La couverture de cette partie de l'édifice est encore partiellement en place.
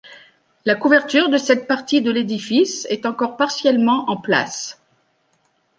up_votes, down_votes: 2, 0